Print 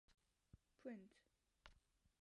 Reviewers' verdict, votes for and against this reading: accepted, 2, 0